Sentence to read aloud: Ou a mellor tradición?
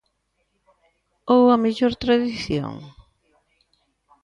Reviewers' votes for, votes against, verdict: 2, 0, accepted